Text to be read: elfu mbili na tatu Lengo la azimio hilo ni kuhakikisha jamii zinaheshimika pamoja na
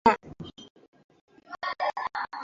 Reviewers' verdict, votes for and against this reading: rejected, 0, 2